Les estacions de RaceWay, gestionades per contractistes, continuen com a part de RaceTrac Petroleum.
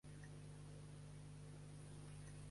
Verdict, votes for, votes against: rejected, 0, 2